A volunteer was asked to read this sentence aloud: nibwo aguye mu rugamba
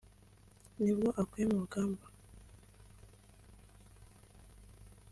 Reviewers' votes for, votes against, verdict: 5, 0, accepted